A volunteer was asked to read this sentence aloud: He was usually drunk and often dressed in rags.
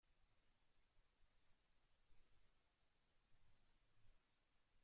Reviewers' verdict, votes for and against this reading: rejected, 0, 2